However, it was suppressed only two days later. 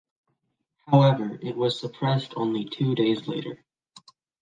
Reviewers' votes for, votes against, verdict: 2, 1, accepted